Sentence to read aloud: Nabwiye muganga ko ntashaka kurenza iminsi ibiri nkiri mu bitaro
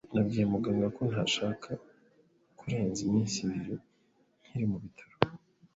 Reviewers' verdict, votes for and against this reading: accepted, 2, 0